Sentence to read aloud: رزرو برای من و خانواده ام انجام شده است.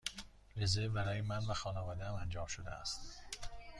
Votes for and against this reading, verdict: 2, 0, accepted